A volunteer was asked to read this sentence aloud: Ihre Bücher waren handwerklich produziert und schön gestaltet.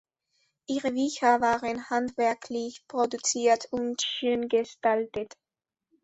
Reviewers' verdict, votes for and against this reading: accepted, 2, 1